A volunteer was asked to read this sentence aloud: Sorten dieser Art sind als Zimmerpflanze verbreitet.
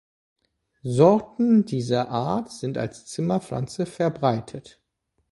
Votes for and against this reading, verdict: 3, 0, accepted